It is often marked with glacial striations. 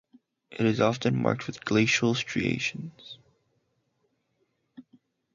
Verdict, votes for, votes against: accepted, 4, 0